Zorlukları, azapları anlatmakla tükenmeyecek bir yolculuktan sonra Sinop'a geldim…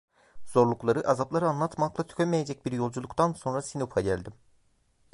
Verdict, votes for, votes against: rejected, 1, 2